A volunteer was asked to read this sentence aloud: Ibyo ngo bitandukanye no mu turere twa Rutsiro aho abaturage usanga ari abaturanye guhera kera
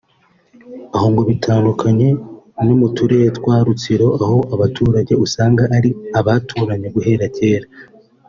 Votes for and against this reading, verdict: 1, 2, rejected